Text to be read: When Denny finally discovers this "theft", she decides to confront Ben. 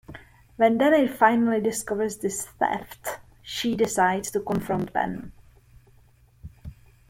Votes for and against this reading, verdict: 1, 2, rejected